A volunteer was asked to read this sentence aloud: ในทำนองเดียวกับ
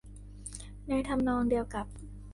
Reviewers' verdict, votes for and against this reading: accepted, 2, 0